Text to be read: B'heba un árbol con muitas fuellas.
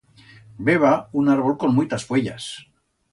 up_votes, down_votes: 2, 0